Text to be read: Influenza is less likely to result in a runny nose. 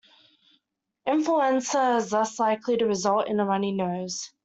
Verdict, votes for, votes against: accepted, 2, 0